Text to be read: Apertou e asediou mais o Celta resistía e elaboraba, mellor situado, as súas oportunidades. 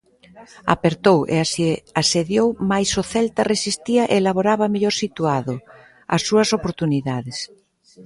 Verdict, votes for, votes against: rejected, 0, 2